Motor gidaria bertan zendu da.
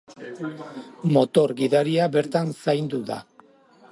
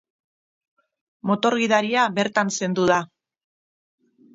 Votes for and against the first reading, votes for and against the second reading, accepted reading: 0, 2, 6, 0, second